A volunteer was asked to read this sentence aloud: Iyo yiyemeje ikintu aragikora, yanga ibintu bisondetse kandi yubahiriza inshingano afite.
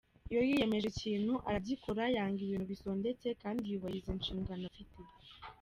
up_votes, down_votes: 2, 1